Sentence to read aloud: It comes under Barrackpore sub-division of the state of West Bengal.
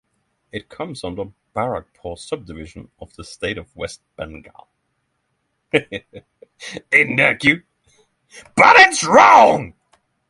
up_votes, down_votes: 0, 3